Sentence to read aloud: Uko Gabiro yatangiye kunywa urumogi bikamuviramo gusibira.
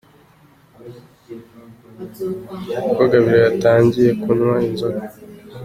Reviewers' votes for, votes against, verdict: 1, 2, rejected